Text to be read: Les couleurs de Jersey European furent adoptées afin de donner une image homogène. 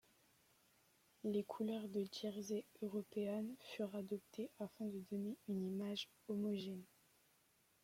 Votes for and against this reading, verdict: 2, 1, accepted